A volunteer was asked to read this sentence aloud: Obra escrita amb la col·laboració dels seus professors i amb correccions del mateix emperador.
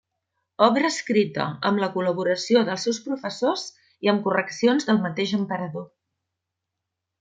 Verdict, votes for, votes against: accepted, 2, 0